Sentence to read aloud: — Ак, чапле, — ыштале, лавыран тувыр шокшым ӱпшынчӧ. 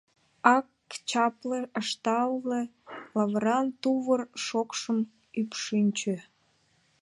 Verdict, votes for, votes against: rejected, 1, 2